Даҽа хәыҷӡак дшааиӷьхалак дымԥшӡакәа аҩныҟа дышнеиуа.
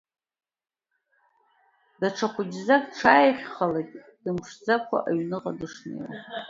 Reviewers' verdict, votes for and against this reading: accepted, 2, 1